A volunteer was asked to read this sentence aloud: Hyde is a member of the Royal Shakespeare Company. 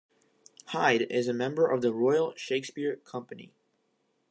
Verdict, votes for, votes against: accepted, 2, 0